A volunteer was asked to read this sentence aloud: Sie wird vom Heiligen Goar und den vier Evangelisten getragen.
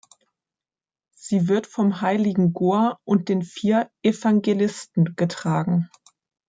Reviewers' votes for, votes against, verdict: 3, 0, accepted